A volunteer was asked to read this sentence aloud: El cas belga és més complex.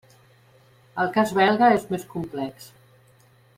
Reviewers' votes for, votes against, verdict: 3, 0, accepted